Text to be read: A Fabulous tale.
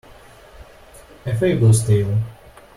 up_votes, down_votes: 1, 2